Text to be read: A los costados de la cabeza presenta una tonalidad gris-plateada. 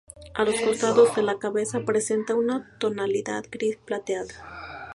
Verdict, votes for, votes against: accepted, 2, 0